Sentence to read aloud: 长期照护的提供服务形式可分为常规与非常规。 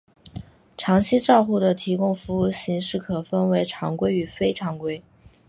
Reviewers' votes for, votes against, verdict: 2, 0, accepted